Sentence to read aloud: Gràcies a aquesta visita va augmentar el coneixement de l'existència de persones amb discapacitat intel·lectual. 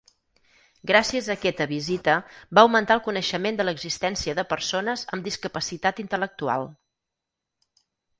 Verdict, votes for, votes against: rejected, 2, 4